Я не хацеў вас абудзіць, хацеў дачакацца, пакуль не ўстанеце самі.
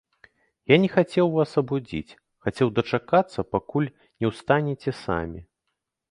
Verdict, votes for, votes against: accepted, 2, 0